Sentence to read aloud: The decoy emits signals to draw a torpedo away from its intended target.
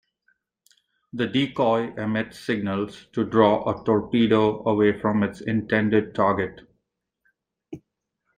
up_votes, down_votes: 2, 0